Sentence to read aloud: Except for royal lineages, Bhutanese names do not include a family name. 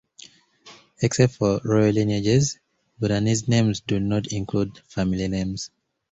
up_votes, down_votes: 2, 0